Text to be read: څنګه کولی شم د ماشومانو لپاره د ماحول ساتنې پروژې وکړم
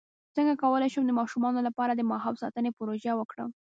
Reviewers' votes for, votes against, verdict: 1, 2, rejected